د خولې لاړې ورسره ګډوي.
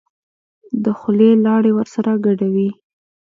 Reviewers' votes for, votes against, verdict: 1, 2, rejected